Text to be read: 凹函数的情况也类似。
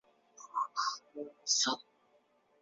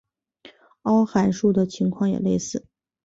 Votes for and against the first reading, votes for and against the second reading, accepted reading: 0, 4, 2, 0, second